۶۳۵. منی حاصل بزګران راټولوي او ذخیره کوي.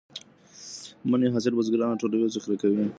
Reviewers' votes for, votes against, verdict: 0, 2, rejected